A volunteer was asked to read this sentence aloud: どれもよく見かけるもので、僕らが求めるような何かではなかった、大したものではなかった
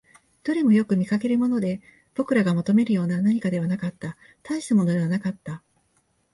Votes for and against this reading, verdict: 2, 0, accepted